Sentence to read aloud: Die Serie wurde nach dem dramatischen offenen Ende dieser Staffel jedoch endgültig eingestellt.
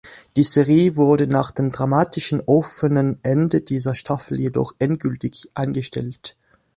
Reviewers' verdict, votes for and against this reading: accepted, 2, 0